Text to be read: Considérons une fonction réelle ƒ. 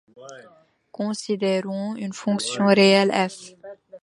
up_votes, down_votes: 2, 0